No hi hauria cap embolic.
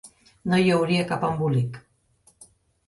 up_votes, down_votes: 3, 0